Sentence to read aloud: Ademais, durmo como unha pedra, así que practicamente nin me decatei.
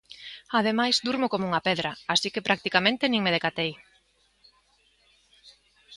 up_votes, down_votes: 2, 0